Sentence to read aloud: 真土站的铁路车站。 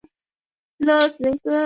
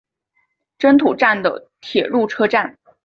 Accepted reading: second